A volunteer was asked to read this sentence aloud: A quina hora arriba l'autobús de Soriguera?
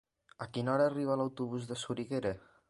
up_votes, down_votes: 2, 0